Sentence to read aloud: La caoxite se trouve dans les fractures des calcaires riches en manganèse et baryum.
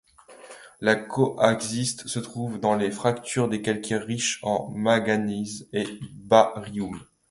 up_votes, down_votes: 1, 2